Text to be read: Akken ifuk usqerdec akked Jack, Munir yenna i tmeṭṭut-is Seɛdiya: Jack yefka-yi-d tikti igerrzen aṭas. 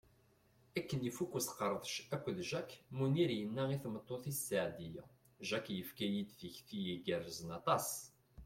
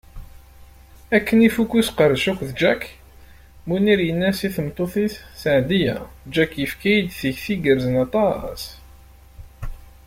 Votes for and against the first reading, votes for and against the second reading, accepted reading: 2, 0, 1, 2, first